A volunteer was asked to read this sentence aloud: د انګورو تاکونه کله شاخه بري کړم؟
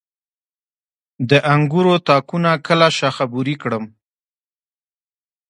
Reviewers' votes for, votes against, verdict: 1, 2, rejected